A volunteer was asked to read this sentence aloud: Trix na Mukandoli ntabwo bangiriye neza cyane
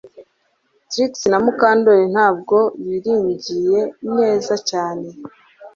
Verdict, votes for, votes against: rejected, 1, 2